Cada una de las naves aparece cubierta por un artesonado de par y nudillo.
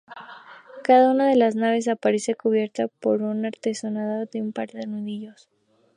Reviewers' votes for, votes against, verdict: 2, 2, rejected